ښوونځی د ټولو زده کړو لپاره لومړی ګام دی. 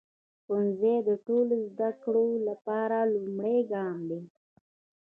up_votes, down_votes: 1, 2